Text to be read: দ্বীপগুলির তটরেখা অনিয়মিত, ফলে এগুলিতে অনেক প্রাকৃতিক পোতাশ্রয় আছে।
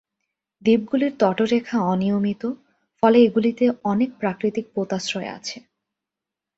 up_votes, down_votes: 3, 0